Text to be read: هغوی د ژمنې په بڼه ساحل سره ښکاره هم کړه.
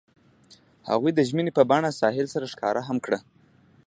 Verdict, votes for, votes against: accepted, 2, 0